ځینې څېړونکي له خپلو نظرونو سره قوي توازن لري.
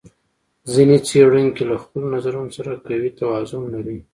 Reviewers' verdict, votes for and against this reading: rejected, 1, 2